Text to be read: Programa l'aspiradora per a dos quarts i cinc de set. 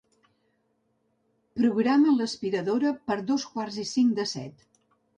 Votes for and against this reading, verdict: 0, 2, rejected